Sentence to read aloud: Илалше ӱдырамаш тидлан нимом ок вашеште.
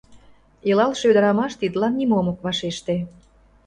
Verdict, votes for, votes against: accepted, 2, 0